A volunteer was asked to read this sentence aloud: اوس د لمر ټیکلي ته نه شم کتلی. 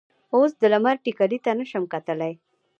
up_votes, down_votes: 0, 2